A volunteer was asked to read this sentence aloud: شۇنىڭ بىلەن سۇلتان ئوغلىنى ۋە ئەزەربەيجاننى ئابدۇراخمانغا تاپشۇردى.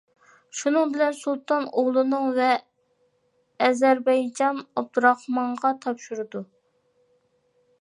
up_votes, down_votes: 0, 2